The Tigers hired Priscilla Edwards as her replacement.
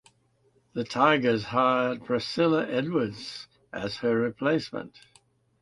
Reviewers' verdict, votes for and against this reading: accepted, 2, 0